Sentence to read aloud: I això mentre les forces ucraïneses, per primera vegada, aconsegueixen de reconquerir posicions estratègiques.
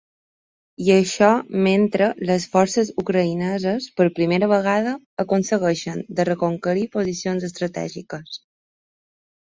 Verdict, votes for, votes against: accepted, 2, 0